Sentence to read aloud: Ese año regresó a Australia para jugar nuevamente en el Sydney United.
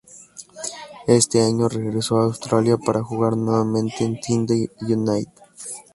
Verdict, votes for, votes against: rejected, 0, 2